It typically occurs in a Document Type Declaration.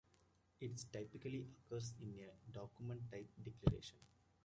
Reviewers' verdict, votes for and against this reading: accepted, 2, 1